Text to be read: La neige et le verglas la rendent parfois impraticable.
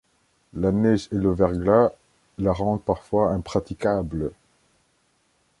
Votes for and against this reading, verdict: 2, 0, accepted